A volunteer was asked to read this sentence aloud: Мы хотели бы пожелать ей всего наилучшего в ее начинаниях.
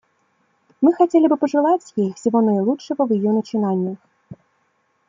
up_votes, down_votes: 2, 0